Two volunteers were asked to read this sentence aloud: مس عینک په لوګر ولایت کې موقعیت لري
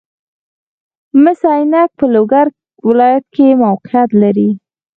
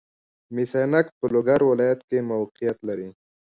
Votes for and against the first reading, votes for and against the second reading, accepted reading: 0, 4, 2, 1, second